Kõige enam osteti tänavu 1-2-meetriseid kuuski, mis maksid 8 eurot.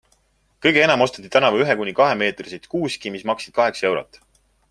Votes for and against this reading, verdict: 0, 2, rejected